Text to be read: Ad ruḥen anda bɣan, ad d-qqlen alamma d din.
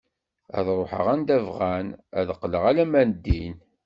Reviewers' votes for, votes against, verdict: 1, 2, rejected